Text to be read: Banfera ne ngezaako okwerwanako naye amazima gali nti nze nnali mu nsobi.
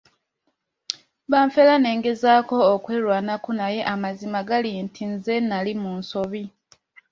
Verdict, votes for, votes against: accepted, 2, 0